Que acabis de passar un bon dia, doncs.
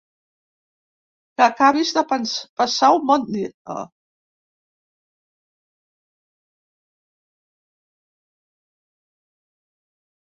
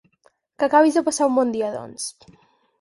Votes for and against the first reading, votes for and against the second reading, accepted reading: 1, 2, 6, 0, second